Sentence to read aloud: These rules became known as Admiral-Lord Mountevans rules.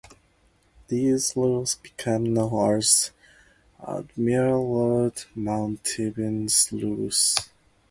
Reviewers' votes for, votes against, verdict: 2, 0, accepted